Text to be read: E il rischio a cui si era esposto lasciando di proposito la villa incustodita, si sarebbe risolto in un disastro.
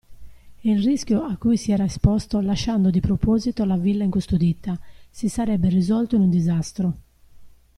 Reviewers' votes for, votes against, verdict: 2, 0, accepted